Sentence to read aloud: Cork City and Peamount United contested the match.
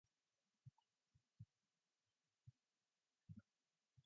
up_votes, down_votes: 0, 2